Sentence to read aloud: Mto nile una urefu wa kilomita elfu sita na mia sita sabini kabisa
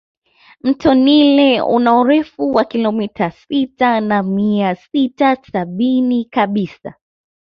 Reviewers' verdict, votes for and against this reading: rejected, 2, 3